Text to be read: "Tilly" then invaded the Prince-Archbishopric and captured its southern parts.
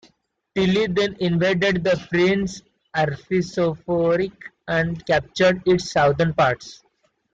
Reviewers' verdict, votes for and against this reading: rejected, 0, 2